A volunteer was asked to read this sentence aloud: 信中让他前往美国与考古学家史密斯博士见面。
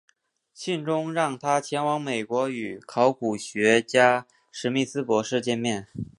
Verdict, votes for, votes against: accepted, 3, 0